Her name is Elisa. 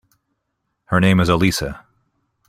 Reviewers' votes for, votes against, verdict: 2, 0, accepted